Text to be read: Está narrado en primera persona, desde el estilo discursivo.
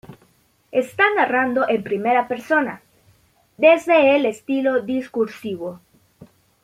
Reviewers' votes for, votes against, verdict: 1, 2, rejected